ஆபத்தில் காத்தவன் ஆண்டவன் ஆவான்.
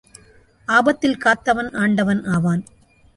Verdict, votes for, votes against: accepted, 2, 0